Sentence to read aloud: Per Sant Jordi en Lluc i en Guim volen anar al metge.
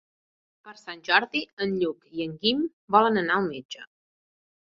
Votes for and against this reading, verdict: 2, 0, accepted